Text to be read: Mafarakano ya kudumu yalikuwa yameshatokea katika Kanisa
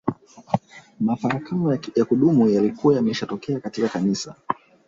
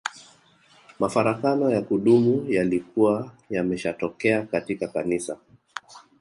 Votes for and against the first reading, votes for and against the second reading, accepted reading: 2, 0, 1, 2, first